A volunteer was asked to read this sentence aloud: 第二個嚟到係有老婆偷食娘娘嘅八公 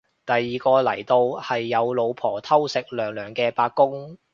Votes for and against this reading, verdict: 2, 0, accepted